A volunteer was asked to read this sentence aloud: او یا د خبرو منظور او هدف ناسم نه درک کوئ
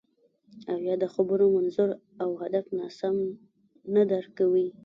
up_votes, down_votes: 1, 2